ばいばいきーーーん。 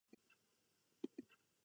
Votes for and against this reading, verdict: 0, 2, rejected